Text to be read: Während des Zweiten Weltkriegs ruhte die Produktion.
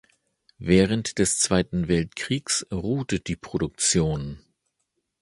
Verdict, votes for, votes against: accepted, 2, 0